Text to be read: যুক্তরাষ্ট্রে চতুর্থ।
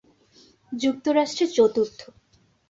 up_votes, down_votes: 2, 0